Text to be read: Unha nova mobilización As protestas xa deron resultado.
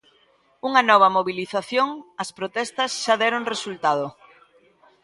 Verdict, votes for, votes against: accepted, 2, 0